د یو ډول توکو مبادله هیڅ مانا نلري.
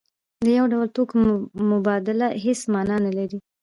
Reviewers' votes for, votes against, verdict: 0, 2, rejected